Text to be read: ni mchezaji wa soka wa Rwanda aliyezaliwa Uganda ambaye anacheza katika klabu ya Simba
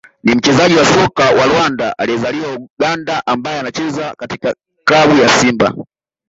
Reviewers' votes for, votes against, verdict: 0, 2, rejected